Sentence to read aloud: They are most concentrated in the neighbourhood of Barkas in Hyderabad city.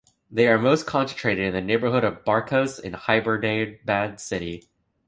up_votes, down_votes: 1, 2